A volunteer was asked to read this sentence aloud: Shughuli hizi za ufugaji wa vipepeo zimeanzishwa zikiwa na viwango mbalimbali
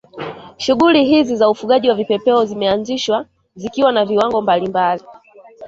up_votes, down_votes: 1, 2